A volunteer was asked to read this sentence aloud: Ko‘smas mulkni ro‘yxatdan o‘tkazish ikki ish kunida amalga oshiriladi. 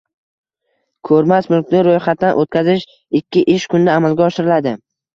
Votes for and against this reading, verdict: 1, 2, rejected